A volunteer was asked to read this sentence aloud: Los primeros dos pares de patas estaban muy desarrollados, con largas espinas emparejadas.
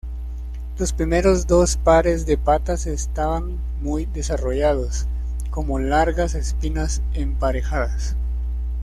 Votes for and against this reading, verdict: 1, 2, rejected